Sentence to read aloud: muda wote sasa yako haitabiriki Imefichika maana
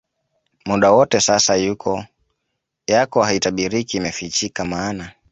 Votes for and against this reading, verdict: 0, 2, rejected